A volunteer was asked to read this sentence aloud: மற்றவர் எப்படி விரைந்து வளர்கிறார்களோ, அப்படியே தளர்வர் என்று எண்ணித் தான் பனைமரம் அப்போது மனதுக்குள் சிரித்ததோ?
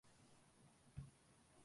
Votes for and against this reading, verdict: 0, 3, rejected